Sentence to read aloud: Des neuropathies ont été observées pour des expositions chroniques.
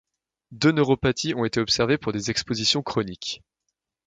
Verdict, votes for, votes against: rejected, 0, 2